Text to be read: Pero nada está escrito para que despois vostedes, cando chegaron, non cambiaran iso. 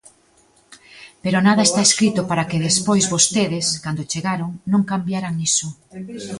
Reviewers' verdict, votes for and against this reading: rejected, 1, 2